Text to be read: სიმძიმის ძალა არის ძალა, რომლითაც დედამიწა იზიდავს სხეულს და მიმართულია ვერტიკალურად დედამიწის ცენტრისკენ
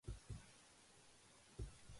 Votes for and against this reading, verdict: 0, 2, rejected